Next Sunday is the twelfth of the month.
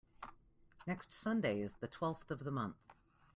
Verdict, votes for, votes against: accepted, 2, 0